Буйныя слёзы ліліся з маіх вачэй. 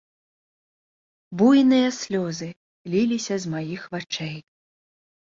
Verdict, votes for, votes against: accepted, 2, 1